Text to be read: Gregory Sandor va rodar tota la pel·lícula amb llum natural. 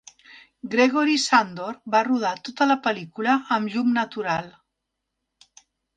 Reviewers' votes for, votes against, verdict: 5, 0, accepted